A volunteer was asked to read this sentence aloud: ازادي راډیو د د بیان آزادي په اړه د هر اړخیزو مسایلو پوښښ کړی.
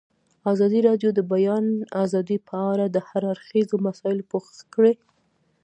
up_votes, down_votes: 2, 0